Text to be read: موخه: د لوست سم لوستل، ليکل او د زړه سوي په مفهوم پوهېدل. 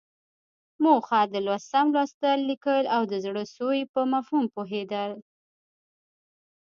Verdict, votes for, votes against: accepted, 2, 0